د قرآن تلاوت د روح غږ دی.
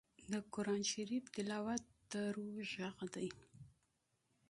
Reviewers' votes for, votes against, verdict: 2, 0, accepted